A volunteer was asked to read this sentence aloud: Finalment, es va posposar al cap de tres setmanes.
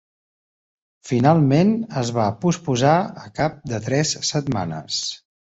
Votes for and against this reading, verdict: 2, 1, accepted